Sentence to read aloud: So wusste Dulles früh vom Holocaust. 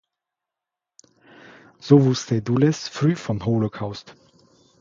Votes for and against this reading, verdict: 2, 1, accepted